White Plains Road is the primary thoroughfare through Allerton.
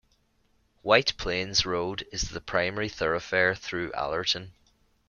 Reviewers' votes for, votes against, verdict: 2, 0, accepted